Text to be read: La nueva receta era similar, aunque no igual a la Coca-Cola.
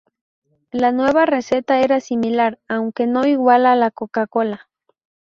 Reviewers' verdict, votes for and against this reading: accepted, 2, 0